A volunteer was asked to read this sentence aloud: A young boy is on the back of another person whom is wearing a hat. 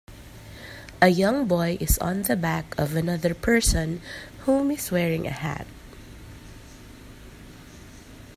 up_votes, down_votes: 2, 0